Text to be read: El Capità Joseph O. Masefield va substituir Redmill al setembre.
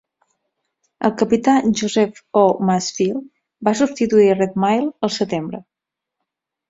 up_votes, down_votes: 4, 0